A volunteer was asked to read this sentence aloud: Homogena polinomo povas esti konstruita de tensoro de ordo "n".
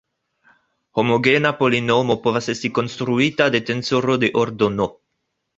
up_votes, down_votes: 3, 1